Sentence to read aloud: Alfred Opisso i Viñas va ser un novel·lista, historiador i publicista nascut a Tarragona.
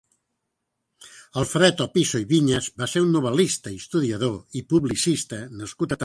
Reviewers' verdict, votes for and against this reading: rejected, 0, 2